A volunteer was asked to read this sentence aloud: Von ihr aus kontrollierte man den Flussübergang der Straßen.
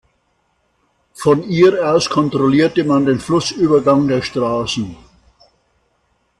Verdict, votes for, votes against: accepted, 2, 0